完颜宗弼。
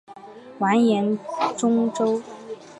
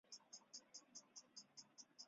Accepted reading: first